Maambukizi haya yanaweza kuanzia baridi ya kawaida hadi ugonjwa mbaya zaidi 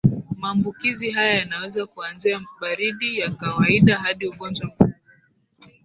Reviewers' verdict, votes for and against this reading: rejected, 1, 2